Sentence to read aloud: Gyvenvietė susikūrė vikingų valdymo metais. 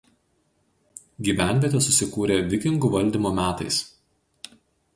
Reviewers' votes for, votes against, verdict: 4, 0, accepted